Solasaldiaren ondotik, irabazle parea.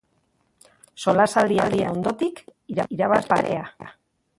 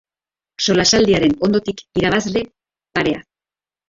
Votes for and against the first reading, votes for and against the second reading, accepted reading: 0, 2, 2, 0, second